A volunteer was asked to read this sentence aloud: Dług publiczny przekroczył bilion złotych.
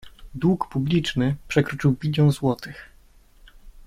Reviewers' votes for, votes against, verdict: 2, 0, accepted